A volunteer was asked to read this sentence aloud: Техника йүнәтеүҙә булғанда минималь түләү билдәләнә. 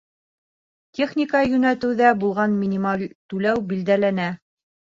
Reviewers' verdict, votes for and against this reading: accepted, 3, 0